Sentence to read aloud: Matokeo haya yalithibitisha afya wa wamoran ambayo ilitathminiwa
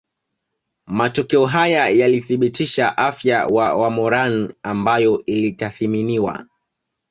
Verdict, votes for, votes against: accepted, 2, 0